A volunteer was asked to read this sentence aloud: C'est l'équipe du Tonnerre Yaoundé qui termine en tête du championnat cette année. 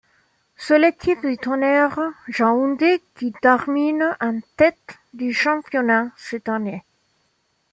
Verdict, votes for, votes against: accepted, 2, 0